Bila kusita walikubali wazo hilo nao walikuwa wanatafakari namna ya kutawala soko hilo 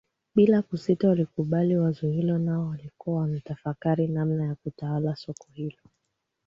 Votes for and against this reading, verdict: 2, 0, accepted